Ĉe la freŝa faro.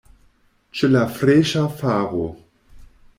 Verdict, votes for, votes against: accepted, 2, 0